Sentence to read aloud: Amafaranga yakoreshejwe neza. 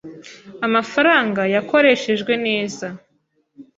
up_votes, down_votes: 2, 0